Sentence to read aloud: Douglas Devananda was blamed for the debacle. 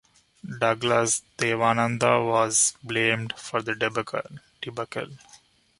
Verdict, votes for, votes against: rejected, 1, 2